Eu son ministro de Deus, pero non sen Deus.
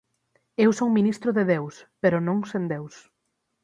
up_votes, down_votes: 6, 0